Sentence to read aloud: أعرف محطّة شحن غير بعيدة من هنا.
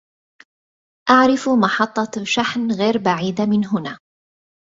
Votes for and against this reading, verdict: 0, 2, rejected